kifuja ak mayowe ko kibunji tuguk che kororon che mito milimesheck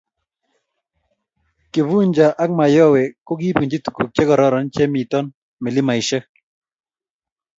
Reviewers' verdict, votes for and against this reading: accepted, 2, 0